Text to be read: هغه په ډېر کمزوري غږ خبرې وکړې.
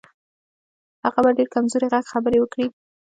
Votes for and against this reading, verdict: 2, 1, accepted